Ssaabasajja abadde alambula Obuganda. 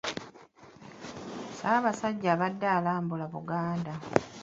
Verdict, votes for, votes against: rejected, 0, 2